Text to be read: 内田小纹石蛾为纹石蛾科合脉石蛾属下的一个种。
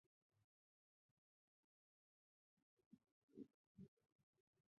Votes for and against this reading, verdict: 2, 3, rejected